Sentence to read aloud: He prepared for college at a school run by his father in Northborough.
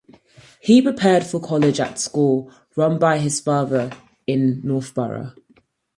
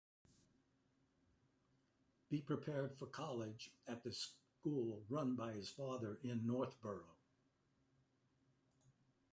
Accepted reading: first